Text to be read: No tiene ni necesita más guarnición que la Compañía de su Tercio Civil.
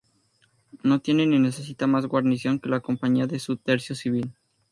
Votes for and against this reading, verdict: 2, 0, accepted